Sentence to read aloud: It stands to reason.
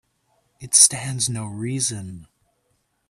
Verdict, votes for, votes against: rejected, 1, 2